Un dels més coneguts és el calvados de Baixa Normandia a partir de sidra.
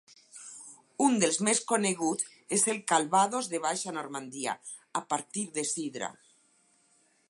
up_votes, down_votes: 4, 0